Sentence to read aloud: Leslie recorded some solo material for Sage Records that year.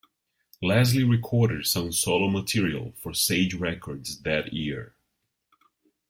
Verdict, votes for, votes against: accepted, 2, 0